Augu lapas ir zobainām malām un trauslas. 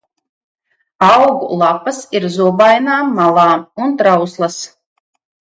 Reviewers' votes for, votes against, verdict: 2, 0, accepted